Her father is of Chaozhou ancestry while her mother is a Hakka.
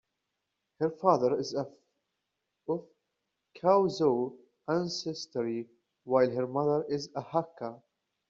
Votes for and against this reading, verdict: 2, 0, accepted